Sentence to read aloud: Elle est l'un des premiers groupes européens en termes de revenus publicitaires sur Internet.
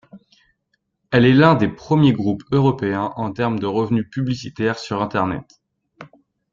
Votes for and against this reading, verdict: 2, 0, accepted